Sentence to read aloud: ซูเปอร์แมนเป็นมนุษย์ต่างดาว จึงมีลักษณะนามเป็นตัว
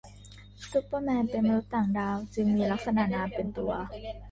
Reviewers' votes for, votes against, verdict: 2, 1, accepted